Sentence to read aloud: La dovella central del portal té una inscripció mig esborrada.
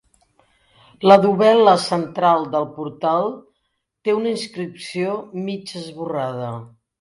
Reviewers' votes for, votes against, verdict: 0, 2, rejected